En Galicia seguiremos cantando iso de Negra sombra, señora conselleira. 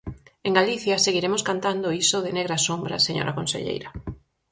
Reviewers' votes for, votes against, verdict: 4, 0, accepted